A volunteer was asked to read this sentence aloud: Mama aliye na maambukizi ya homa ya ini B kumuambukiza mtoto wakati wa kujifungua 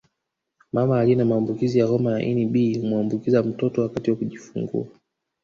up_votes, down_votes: 1, 2